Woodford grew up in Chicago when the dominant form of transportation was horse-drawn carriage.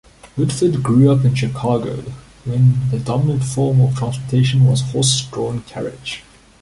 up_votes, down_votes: 1, 2